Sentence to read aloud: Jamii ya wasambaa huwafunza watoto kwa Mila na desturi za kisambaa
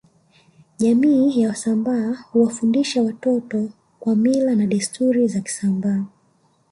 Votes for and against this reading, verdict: 0, 2, rejected